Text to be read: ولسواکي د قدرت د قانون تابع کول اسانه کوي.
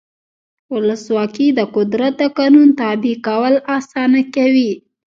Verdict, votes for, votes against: rejected, 1, 2